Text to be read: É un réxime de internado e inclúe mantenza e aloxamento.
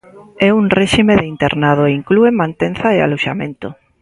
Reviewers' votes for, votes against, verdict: 2, 0, accepted